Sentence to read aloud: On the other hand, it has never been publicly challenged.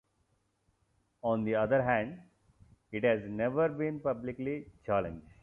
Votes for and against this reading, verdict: 2, 0, accepted